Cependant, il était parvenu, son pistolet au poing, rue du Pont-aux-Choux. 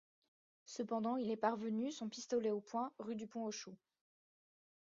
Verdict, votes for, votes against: rejected, 1, 2